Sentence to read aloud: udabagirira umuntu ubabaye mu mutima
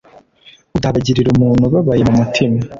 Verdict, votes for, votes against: accepted, 2, 0